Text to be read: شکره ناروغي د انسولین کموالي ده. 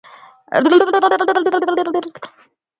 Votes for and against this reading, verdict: 1, 2, rejected